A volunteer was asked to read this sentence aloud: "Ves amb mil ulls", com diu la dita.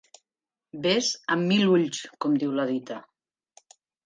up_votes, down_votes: 3, 0